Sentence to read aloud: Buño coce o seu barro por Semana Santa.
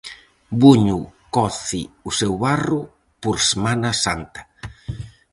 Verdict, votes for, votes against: accepted, 4, 0